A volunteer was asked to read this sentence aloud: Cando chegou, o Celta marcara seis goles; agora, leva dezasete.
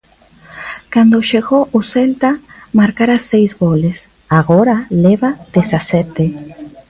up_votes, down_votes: 0, 2